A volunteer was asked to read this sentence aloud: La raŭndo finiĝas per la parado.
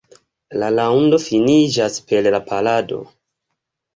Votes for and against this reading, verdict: 1, 2, rejected